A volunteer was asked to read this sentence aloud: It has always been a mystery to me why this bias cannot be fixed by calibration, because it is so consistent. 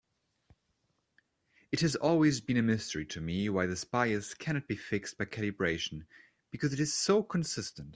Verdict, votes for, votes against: accepted, 2, 0